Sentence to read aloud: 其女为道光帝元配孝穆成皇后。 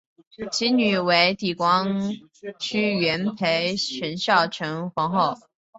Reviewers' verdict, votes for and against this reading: rejected, 0, 4